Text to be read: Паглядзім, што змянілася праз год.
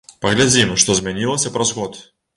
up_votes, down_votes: 1, 2